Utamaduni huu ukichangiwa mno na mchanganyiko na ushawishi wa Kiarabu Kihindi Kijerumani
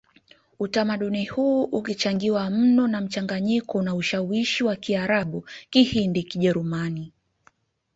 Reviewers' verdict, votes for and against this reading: accepted, 2, 0